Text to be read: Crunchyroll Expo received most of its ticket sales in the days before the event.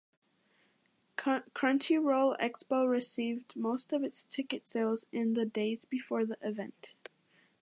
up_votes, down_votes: 1, 2